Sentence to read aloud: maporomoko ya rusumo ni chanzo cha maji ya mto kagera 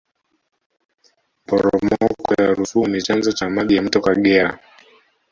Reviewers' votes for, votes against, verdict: 0, 2, rejected